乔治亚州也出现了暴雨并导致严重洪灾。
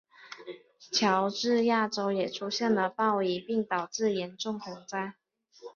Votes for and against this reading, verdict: 3, 2, accepted